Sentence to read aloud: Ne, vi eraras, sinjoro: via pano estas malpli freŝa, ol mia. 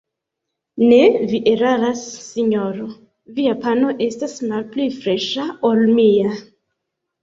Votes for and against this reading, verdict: 2, 1, accepted